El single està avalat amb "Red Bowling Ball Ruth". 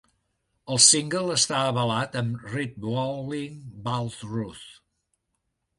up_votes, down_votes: 1, 2